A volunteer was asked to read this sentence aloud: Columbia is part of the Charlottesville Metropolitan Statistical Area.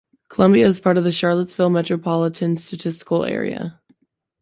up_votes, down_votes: 2, 0